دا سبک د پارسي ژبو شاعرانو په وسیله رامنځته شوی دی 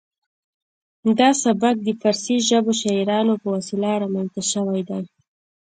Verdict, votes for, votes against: accepted, 2, 1